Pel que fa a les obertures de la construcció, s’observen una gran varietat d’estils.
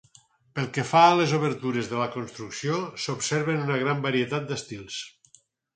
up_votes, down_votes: 4, 0